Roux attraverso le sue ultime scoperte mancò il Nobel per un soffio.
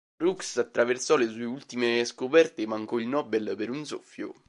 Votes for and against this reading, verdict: 1, 2, rejected